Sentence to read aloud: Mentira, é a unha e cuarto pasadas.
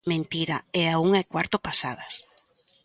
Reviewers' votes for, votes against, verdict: 3, 0, accepted